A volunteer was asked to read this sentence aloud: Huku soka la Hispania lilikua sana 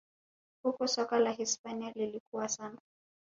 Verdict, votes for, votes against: accepted, 3, 1